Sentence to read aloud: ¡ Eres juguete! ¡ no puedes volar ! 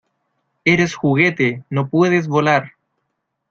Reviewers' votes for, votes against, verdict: 2, 0, accepted